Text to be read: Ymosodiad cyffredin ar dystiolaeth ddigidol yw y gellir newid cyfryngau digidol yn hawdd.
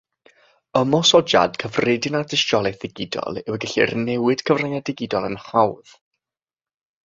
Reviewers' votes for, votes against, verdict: 3, 0, accepted